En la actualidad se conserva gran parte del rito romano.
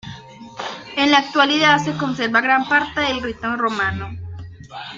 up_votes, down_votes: 2, 0